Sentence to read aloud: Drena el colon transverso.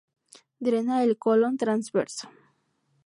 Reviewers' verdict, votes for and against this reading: rejected, 2, 2